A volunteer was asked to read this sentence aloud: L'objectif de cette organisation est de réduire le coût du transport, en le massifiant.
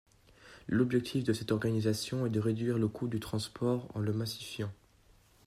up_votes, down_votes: 2, 0